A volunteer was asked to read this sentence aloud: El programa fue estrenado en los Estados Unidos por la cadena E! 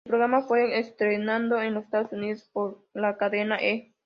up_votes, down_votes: 0, 2